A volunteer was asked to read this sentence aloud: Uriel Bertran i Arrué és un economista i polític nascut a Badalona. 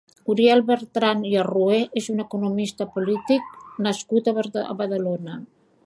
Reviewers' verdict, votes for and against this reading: rejected, 1, 3